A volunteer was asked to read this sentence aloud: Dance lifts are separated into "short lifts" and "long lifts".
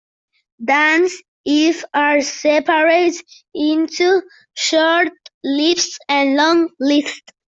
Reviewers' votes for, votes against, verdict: 0, 2, rejected